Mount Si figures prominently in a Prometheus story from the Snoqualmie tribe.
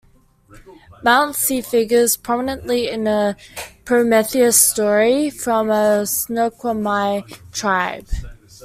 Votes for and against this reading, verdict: 2, 0, accepted